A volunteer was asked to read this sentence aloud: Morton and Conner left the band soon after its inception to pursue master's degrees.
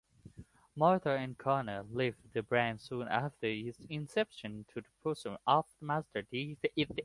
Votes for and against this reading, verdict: 1, 2, rejected